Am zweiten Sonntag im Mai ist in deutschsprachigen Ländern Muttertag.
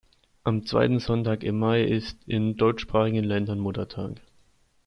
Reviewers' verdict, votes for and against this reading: accepted, 2, 0